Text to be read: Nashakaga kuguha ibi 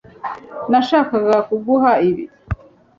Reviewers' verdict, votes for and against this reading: accepted, 2, 0